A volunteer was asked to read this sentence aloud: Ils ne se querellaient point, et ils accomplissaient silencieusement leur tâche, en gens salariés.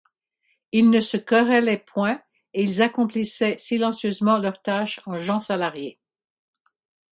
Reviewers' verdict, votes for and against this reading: accepted, 4, 0